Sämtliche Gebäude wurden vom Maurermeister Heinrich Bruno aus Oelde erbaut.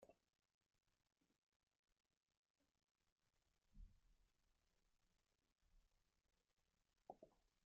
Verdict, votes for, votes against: rejected, 0, 2